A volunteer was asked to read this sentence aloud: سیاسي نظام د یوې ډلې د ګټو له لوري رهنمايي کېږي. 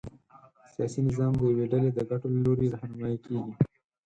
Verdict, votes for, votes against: rejected, 0, 4